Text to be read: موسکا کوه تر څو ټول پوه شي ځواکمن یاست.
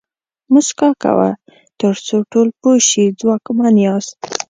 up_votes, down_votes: 2, 0